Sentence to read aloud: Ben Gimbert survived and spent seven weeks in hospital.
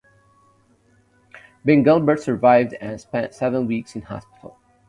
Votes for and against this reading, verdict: 2, 0, accepted